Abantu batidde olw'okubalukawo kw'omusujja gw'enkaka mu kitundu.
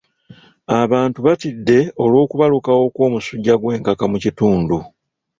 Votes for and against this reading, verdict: 0, 2, rejected